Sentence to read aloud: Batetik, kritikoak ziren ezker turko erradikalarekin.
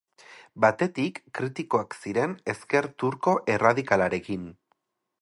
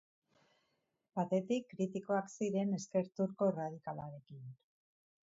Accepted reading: first